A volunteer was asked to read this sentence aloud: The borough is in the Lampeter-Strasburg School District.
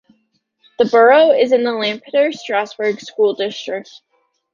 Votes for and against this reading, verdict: 2, 0, accepted